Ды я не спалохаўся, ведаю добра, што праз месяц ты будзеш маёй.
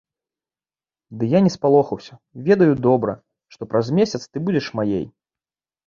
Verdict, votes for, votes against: rejected, 1, 2